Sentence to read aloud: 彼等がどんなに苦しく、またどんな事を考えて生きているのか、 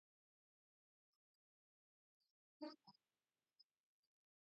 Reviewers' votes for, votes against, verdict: 1, 2, rejected